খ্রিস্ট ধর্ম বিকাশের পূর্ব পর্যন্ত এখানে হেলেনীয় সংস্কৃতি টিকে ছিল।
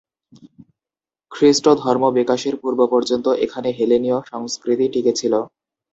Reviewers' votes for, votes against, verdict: 2, 0, accepted